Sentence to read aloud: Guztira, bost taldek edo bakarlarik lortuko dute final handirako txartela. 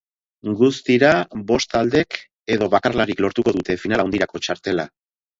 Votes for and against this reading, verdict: 0, 2, rejected